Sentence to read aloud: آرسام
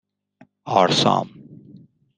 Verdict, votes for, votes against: accepted, 2, 0